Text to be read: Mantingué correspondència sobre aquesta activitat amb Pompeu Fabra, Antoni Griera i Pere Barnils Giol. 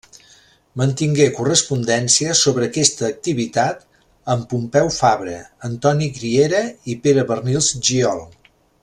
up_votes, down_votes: 2, 0